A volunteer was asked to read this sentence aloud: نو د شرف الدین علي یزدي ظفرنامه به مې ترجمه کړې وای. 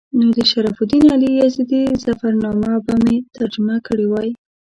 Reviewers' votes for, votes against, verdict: 1, 2, rejected